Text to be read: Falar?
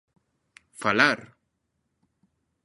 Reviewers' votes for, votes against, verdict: 2, 0, accepted